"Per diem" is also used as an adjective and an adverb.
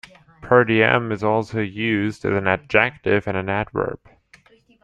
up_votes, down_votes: 1, 2